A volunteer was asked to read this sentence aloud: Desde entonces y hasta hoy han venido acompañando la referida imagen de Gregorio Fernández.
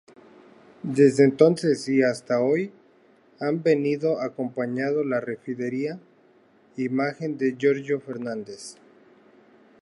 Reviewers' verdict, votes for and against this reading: rejected, 0, 2